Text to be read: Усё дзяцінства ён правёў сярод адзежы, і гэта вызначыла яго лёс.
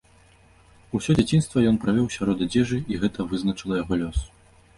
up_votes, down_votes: 2, 0